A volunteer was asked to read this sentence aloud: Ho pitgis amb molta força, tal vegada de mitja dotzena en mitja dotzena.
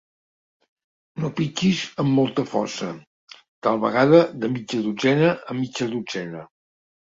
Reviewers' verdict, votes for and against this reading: rejected, 0, 2